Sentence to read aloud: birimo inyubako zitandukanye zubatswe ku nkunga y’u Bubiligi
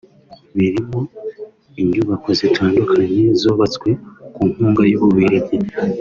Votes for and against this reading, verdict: 3, 0, accepted